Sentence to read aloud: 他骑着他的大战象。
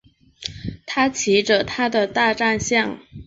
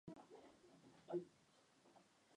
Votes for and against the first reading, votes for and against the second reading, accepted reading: 3, 0, 0, 2, first